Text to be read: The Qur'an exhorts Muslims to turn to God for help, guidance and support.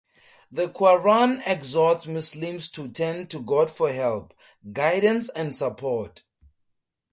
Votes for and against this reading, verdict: 4, 0, accepted